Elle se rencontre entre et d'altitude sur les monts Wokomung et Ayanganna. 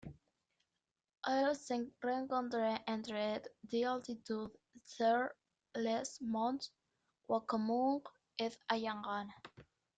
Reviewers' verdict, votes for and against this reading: rejected, 0, 2